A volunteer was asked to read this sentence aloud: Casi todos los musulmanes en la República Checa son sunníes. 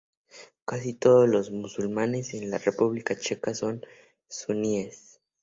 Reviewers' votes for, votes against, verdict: 2, 0, accepted